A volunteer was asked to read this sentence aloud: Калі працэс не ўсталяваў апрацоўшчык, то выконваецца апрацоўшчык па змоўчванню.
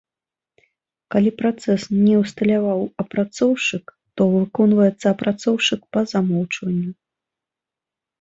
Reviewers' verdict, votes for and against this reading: rejected, 0, 2